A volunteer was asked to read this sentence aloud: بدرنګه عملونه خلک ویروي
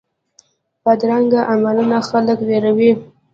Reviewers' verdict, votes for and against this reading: rejected, 0, 2